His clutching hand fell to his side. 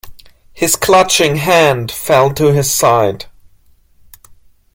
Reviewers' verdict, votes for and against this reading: accepted, 2, 0